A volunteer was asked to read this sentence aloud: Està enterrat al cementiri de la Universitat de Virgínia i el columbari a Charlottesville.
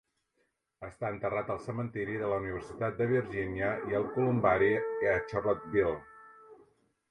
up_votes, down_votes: 0, 2